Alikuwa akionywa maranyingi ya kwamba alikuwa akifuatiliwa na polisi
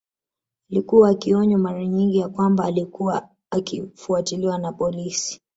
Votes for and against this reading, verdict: 0, 2, rejected